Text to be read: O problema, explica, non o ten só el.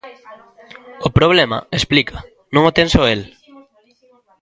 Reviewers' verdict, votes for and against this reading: rejected, 1, 2